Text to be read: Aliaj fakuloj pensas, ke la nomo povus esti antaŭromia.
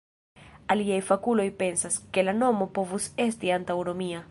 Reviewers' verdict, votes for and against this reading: accepted, 2, 0